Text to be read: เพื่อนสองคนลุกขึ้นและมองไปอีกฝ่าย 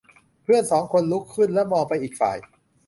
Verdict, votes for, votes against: accepted, 2, 0